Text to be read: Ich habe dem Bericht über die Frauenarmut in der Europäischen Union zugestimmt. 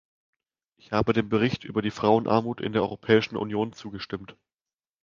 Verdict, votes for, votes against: accepted, 2, 0